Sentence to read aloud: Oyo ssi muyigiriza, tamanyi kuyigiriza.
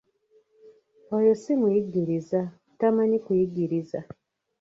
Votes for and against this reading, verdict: 1, 2, rejected